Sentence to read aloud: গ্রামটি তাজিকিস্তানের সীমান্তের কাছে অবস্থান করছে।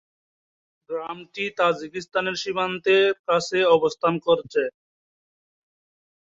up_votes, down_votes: 2, 4